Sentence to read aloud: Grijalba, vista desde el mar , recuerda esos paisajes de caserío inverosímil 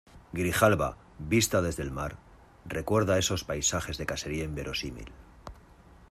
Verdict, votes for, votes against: accepted, 2, 0